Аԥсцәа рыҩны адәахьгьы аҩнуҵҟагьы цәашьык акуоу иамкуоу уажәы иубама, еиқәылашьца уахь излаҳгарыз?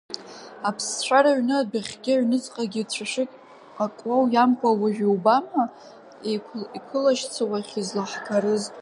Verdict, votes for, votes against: rejected, 1, 2